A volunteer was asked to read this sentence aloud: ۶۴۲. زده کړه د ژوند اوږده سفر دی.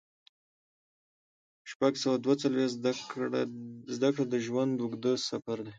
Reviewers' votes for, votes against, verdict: 0, 2, rejected